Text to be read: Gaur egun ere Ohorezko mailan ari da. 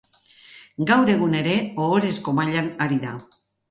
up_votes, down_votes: 4, 0